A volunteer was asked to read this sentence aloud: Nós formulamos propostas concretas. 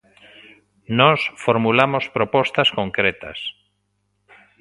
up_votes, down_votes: 2, 0